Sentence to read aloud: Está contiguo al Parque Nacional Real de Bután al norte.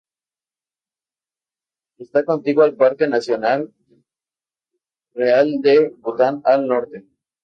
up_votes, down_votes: 2, 0